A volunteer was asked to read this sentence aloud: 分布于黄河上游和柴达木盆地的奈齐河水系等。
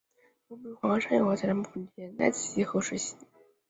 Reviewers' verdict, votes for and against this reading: rejected, 1, 2